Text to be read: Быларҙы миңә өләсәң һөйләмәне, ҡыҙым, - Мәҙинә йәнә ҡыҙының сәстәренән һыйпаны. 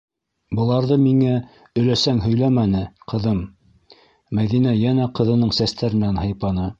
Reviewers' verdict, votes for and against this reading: rejected, 1, 2